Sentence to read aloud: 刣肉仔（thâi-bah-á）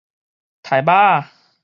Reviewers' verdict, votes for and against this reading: rejected, 2, 2